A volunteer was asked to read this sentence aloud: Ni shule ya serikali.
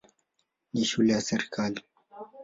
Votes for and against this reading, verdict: 16, 2, accepted